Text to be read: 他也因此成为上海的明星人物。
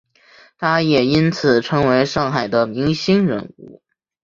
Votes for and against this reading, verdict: 3, 0, accepted